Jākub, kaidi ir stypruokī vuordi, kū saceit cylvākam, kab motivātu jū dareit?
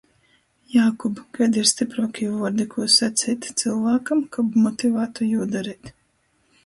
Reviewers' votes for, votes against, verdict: 2, 0, accepted